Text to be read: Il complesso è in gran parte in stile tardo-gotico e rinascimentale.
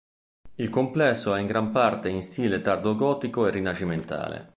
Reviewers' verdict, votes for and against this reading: accepted, 2, 0